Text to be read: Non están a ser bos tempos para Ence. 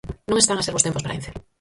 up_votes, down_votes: 0, 4